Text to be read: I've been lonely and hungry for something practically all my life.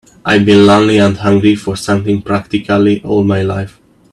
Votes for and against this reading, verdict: 1, 2, rejected